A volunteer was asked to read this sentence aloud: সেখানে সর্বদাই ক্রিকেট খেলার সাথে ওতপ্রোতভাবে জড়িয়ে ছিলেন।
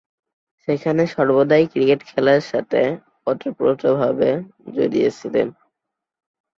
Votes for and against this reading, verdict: 1, 2, rejected